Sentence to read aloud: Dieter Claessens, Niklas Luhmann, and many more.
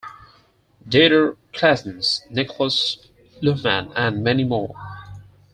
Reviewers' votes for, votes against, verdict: 4, 0, accepted